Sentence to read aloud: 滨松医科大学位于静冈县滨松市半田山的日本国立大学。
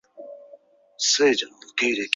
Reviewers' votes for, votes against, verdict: 0, 5, rejected